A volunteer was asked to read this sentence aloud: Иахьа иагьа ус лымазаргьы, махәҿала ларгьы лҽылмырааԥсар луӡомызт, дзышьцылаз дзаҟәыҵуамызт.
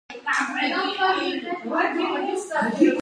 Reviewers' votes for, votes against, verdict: 0, 2, rejected